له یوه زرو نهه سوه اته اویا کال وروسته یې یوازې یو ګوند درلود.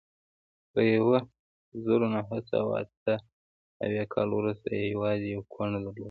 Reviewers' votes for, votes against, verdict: 1, 2, rejected